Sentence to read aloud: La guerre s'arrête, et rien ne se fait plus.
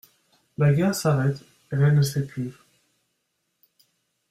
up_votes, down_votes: 1, 2